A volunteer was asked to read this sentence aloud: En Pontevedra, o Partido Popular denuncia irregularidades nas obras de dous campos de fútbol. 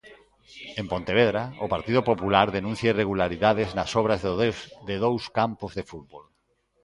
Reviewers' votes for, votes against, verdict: 0, 2, rejected